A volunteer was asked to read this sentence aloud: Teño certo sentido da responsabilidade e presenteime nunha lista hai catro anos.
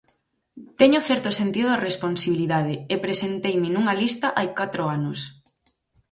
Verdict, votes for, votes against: rejected, 0, 4